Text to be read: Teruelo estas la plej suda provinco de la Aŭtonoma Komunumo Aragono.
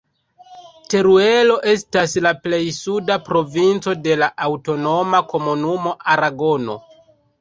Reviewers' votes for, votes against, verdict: 2, 0, accepted